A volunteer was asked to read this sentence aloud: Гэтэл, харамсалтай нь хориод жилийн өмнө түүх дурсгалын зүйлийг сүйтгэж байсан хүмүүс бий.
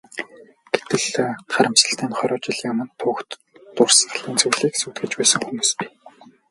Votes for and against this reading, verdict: 0, 2, rejected